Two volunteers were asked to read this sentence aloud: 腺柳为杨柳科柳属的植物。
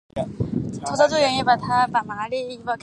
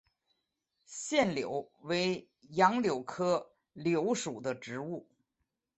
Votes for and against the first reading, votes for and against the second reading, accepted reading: 1, 2, 6, 1, second